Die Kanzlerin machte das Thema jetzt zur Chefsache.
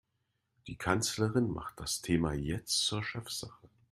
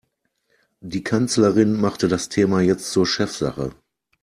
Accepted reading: second